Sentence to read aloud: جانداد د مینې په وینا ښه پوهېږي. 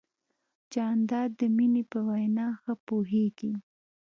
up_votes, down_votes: 2, 0